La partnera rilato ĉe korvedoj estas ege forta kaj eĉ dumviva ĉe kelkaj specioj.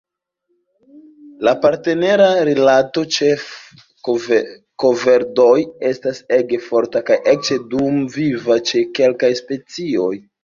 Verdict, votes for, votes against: rejected, 0, 2